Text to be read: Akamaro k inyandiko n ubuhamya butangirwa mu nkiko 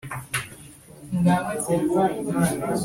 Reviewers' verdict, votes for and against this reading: rejected, 1, 2